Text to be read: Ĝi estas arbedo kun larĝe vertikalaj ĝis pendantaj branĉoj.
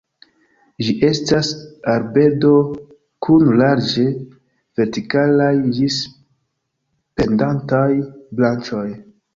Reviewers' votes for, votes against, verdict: 2, 0, accepted